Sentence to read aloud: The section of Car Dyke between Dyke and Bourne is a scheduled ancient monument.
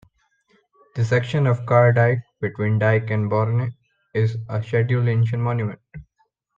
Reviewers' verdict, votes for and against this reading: rejected, 0, 2